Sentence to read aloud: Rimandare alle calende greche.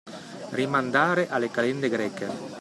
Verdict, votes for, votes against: accepted, 2, 0